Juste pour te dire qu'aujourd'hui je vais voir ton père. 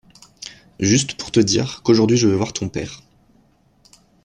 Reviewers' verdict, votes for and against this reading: accepted, 2, 0